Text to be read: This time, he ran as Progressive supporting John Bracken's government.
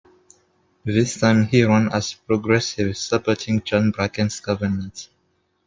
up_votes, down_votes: 1, 3